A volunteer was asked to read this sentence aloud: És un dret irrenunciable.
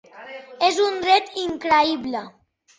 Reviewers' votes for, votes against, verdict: 0, 3, rejected